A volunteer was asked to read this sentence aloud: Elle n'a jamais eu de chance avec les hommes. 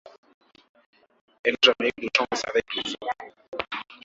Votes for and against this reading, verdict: 0, 2, rejected